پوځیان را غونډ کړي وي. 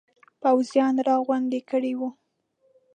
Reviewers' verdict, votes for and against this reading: rejected, 1, 2